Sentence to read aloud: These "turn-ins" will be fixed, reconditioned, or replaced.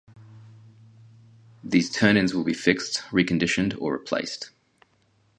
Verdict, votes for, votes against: accepted, 2, 0